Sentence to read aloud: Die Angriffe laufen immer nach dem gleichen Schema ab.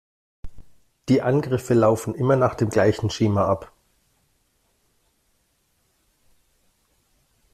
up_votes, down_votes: 2, 0